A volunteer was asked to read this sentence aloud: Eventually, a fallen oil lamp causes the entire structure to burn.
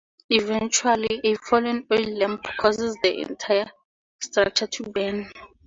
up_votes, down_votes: 2, 0